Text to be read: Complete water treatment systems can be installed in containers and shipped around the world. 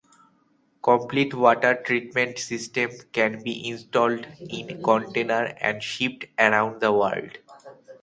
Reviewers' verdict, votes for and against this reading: accepted, 2, 1